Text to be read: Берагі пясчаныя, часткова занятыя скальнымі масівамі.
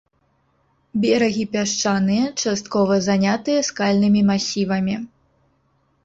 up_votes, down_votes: 0, 2